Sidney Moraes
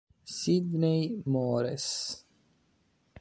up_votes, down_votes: 2, 0